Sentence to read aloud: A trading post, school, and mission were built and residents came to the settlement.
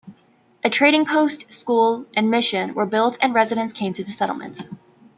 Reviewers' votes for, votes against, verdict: 2, 1, accepted